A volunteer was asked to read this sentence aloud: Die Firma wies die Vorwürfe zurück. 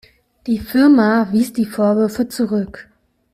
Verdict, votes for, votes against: accepted, 2, 0